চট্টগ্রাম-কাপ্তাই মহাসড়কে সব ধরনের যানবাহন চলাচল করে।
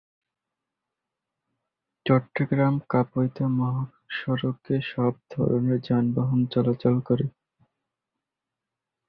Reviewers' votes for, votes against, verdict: 1, 7, rejected